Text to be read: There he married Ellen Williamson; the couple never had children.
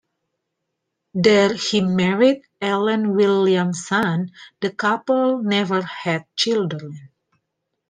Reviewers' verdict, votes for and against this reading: accepted, 2, 0